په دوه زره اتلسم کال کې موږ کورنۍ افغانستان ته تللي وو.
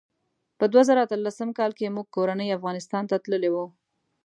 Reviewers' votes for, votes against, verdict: 2, 0, accepted